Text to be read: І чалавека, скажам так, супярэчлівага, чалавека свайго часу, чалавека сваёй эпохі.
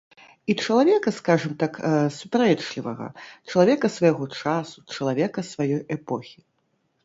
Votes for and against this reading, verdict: 0, 2, rejected